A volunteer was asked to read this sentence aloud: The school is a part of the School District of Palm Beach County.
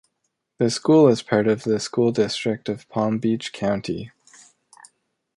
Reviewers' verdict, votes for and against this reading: accepted, 2, 0